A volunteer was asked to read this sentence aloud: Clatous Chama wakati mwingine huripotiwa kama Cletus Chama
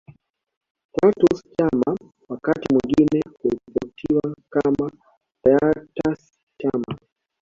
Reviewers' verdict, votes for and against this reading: rejected, 1, 2